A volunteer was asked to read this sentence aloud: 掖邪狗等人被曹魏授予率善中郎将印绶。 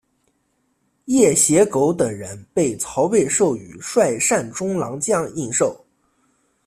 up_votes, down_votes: 2, 0